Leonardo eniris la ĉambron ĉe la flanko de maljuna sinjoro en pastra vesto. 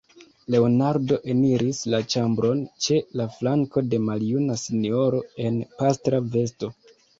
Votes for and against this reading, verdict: 2, 0, accepted